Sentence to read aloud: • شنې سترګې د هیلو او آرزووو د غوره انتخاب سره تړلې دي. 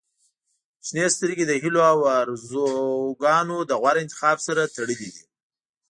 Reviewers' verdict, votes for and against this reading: rejected, 1, 2